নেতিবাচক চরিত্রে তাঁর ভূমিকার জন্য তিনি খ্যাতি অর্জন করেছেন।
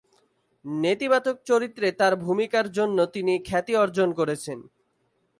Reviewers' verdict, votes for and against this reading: accepted, 4, 0